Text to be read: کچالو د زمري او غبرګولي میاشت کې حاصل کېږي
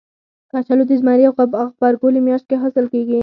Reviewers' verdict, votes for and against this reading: rejected, 2, 4